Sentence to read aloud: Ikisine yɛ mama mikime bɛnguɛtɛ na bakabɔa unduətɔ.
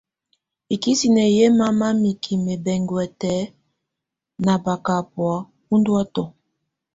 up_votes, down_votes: 2, 0